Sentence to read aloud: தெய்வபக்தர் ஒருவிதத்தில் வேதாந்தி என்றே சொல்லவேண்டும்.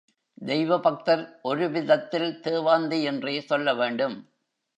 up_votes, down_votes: 1, 2